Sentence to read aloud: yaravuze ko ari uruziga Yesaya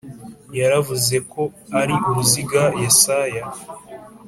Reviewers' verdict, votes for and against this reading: accepted, 2, 0